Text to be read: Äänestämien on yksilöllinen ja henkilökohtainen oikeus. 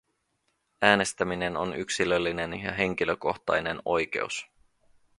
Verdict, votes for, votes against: accepted, 2, 0